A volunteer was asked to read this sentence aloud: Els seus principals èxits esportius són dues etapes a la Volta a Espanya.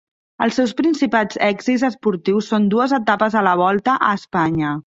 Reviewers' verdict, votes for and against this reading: rejected, 1, 2